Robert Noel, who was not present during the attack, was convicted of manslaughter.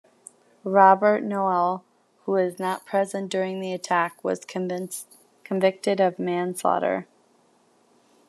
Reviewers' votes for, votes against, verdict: 1, 2, rejected